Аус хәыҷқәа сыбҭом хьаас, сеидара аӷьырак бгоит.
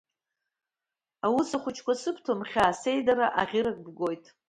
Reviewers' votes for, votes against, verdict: 2, 0, accepted